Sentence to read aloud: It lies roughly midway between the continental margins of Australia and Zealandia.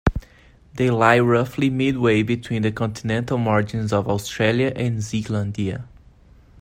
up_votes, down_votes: 1, 2